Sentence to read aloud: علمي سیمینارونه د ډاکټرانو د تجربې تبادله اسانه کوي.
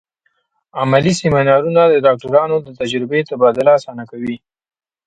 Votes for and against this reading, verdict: 2, 0, accepted